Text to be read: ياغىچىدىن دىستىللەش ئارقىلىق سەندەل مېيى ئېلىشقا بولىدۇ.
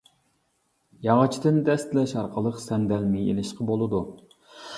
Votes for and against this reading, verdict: 0, 2, rejected